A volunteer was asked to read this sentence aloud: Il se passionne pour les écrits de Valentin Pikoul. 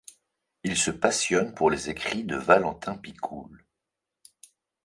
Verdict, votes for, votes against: accepted, 2, 1